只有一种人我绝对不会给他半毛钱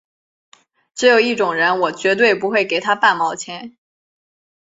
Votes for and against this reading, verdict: 2, 0, accepted